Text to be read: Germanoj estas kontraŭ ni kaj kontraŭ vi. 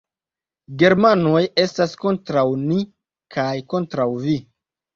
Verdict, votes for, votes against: accepted, 2, 0